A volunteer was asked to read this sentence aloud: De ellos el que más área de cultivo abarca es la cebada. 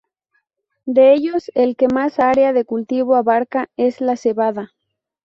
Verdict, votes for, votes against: rejected, 2, 2